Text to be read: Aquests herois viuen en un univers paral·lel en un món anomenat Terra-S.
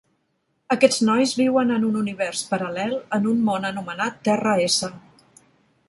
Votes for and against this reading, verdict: 0, 2, rejected